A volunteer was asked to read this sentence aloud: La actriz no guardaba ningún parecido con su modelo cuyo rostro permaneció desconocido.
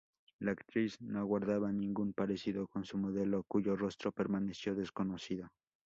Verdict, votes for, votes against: accepted, 2, 0